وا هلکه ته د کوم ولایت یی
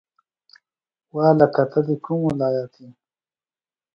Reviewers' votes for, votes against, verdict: 2, 0, accepted